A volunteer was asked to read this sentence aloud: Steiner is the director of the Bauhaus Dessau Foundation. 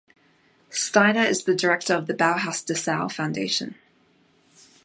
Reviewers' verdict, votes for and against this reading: accepted, 2, 0